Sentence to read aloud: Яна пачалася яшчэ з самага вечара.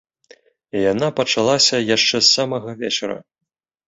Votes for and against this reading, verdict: 2, 0, accepted